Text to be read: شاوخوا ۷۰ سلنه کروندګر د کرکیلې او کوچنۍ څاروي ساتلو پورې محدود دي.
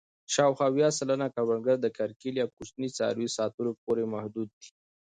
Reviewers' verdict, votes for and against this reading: rejected, 0, 2